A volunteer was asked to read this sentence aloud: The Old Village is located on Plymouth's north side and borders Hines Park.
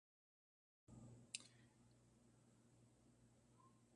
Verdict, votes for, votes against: rejected, 0, 2